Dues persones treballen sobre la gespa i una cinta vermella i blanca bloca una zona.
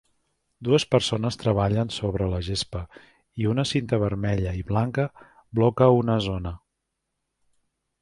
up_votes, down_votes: 3, 0